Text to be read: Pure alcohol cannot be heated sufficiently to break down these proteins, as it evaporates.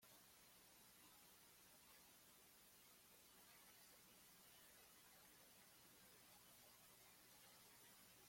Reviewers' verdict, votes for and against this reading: rejected, 0, 2